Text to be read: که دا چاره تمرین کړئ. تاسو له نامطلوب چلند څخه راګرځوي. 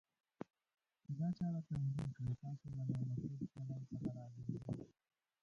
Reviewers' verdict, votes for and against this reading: rejected, 0, 2